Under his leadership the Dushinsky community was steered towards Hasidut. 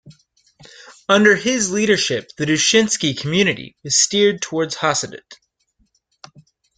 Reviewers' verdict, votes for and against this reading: accepted, 2, 0